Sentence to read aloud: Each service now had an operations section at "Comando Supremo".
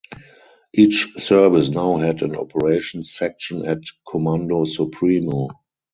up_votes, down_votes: 2, 2